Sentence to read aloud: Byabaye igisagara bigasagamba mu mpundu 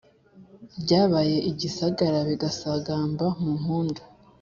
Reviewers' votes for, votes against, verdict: 2, 0, accepted